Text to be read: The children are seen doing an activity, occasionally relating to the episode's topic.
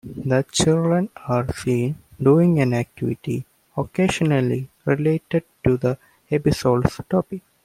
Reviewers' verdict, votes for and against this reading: rejected, 1, 2